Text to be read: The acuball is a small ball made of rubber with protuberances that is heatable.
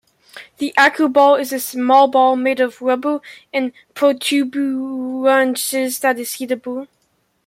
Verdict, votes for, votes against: rejected, 0, 2